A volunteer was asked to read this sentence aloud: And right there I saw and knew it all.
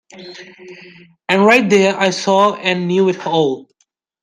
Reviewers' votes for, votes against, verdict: 2, 0, accepted